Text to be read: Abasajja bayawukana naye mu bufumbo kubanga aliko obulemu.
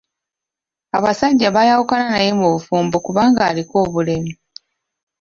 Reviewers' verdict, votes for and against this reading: accepted, 3, 1